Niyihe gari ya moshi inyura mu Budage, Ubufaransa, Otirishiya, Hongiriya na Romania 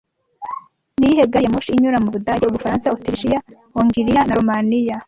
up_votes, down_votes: 0, 2